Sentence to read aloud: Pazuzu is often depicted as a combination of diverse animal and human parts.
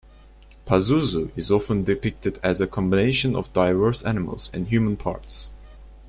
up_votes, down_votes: 1, 2